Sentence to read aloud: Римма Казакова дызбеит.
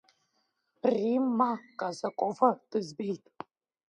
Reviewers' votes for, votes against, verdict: 1, 3, rejected